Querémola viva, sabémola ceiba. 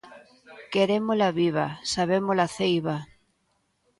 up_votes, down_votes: 2, 0